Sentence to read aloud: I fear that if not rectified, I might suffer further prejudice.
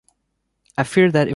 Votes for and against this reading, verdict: 1, 2, rejected